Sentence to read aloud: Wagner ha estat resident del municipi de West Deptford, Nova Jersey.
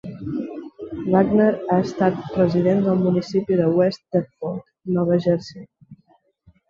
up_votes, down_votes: 2, 1